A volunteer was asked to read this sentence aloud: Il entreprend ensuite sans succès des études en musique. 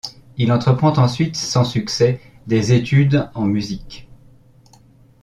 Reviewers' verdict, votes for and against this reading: accepted, 2, 0